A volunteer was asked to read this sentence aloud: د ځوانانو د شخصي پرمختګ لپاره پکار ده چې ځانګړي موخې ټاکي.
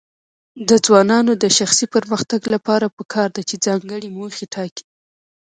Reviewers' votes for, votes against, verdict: 2, 0, accepted